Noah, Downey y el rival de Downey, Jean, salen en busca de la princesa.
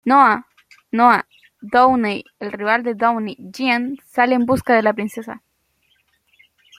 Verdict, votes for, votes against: rejected, 0, 2